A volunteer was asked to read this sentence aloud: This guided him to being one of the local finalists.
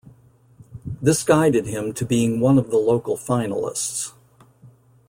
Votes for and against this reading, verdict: 2, 0, accepted